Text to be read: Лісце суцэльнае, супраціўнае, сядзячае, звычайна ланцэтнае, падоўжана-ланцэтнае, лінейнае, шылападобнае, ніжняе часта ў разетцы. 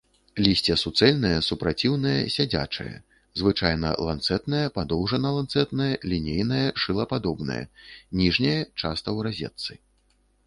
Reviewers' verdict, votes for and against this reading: accepted, 2, 0